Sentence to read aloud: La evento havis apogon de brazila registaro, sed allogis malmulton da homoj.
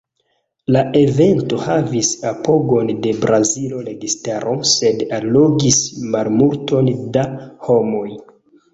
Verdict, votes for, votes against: accepted, 4, 0